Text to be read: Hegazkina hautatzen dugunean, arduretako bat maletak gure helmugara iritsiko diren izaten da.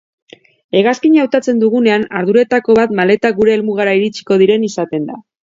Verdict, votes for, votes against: accepted, 3, 0